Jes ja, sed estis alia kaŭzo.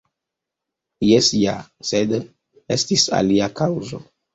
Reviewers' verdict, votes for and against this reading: accepted, 2, 0